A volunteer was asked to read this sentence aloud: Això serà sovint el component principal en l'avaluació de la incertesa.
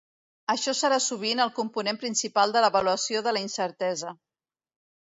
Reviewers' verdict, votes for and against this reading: rejected, 1, 2